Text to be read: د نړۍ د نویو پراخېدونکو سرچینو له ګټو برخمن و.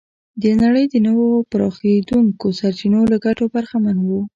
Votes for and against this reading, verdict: 0, 2, rejected